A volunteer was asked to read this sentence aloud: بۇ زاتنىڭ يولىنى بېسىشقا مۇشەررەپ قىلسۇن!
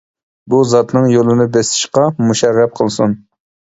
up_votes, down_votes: 2, 0